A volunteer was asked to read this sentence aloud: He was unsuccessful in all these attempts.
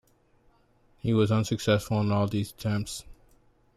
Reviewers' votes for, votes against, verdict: 2, 1, accepted